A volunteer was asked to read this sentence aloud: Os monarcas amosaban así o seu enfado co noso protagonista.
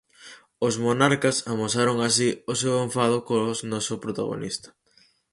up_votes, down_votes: 2, 4